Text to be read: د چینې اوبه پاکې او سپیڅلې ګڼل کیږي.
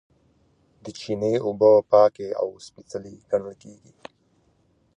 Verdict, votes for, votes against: accepted, 2, 0